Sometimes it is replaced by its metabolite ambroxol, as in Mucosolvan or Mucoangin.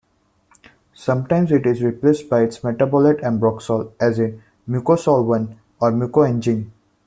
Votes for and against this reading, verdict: 2, 0, accepted